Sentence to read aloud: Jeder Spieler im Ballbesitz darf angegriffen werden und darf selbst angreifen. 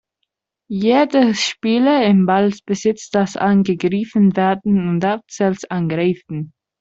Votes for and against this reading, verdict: 0, 2, rejected